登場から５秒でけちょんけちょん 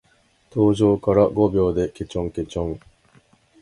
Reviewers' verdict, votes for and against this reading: rejected, 0, 2